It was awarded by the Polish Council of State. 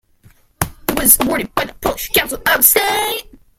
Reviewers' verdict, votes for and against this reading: rejected, 0, 2